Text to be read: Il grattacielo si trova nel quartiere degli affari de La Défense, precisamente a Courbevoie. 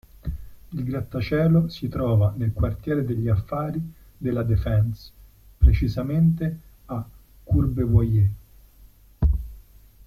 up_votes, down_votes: 1, 2